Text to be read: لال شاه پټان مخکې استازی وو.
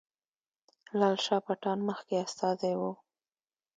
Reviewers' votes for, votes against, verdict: 2, 0, accepted